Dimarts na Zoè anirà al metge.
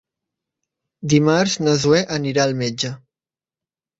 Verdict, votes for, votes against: accepted, 3, 0